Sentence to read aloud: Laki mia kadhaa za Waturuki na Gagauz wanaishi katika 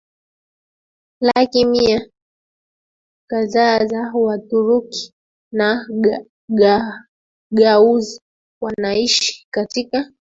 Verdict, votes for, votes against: rejected, 0, 2